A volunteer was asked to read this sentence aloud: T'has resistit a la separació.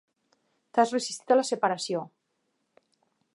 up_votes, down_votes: 2, 1